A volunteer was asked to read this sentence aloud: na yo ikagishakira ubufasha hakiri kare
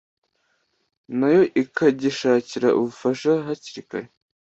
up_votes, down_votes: 2, 0